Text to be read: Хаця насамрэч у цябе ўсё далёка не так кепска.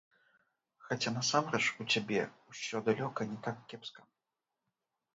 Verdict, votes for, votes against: rejected, 0, 2